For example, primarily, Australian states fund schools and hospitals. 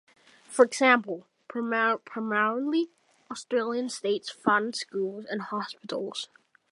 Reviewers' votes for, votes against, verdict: 0, 2, rejected